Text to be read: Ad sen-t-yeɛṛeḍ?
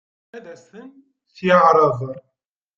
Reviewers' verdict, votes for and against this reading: rejected, 0, 2